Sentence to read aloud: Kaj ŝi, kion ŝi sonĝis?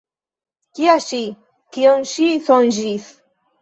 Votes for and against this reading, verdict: 0, 2, rejected